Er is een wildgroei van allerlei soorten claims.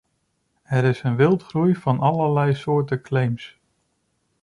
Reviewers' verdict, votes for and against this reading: accepted, 2, 0